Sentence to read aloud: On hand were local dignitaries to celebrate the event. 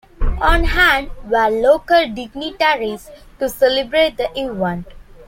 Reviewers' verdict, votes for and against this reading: accepted, 2, 0